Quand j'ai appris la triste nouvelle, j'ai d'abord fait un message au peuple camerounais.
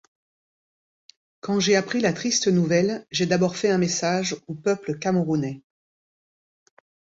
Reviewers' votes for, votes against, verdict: 2, 0, accepted